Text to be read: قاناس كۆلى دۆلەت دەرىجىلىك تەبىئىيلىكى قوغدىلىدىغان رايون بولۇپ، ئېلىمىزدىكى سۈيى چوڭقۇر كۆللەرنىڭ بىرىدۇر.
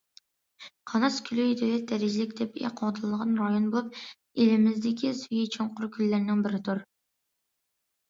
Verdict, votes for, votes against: rejected, 1, 2